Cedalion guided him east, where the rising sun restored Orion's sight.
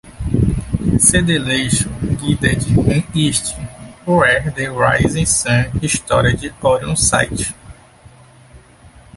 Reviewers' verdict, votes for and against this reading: rejected, 0, 2